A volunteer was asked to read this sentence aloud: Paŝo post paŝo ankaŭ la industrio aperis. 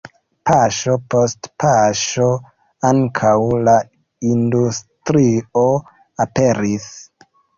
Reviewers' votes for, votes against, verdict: 2, 0, accepted